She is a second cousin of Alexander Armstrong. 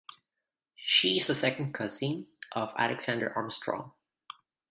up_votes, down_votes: 1, 2